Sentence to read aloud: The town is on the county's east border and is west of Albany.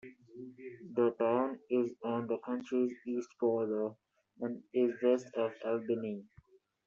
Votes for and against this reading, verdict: 0, 2, rejected